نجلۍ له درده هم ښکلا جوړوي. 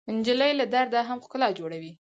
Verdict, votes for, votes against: accepted, 4, 0